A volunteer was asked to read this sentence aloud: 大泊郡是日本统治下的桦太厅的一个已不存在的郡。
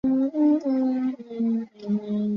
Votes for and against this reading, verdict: 0, 2, rejected